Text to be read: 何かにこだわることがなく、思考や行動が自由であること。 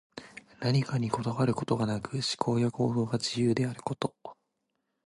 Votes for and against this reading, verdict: 2, 1, accepted